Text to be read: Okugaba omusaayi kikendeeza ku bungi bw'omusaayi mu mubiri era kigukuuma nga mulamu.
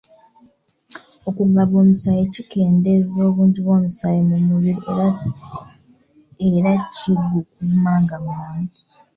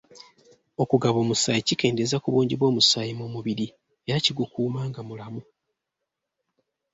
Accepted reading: second